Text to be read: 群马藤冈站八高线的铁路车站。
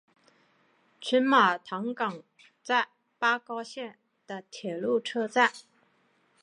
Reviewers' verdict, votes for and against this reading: accepted, 4, 0